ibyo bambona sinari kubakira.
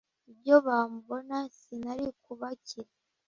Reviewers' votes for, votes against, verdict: 2, 1, accepted